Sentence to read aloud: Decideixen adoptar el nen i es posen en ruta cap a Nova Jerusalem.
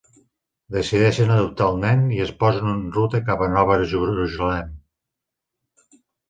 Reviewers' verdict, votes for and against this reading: rejected, 0, 3